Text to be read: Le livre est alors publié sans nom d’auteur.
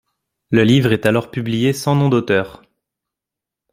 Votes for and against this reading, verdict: 1, 2, rejected